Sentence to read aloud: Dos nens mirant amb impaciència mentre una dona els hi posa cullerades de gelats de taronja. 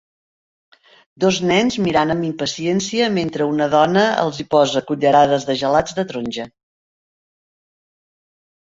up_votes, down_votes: 2, 0